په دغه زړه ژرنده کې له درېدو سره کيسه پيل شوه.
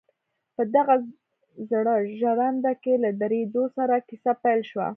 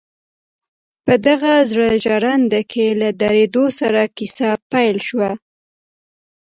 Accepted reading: first